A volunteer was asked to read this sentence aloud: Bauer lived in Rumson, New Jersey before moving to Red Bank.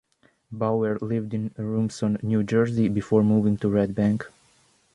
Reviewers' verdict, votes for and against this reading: accepted, 2, 0